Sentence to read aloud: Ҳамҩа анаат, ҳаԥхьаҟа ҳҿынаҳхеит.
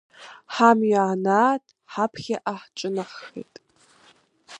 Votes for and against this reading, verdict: 2, 0, accepted